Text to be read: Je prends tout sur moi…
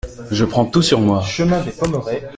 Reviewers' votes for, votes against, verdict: 1, 2, rejected